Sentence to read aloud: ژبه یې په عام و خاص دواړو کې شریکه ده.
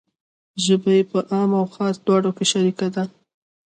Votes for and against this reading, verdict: 2, 0, accepted